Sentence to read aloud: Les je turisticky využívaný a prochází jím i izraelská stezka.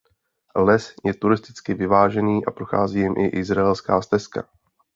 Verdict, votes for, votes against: rejected, 0, 2